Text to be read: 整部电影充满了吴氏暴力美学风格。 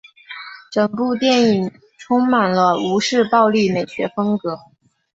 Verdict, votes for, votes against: accepted, 2, 0